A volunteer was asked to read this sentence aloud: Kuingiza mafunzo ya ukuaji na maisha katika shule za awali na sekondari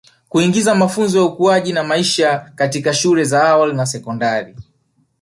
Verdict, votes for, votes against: accepted, 2, 1